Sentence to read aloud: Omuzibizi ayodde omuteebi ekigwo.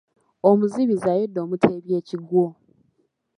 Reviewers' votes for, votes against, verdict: 1, 2, rejected